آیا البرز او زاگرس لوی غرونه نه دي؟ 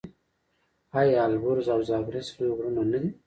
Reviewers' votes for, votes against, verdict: 2, 0, accepted